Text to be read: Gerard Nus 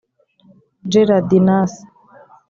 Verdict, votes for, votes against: rejected, 0, 2